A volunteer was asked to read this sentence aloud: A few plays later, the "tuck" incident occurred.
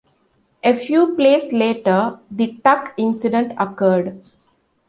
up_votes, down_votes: 2, 0